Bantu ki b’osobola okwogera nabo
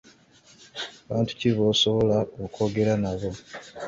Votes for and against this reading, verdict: 2, 0, accepted